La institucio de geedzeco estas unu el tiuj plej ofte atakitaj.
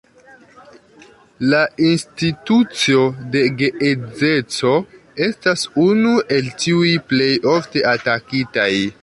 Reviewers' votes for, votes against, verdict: 0, 2, rejected